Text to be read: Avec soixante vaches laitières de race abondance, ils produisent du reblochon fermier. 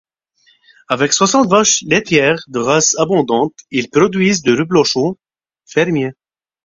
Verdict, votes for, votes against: rejected, 0, 4